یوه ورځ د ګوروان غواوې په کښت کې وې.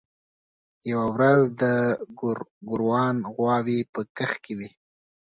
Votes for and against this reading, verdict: 2, 0, accepted